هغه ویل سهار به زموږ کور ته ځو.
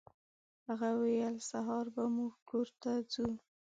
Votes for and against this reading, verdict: 2, 0, accepted